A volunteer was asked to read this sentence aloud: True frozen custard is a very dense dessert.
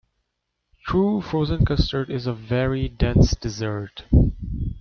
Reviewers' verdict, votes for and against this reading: rejected, 1, 2